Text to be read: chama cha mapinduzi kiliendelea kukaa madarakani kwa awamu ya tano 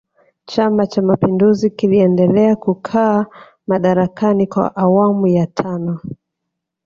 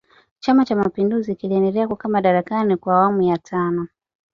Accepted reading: second